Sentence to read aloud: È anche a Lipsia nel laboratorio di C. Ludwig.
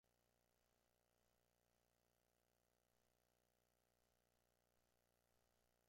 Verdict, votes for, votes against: rejected, 0, 2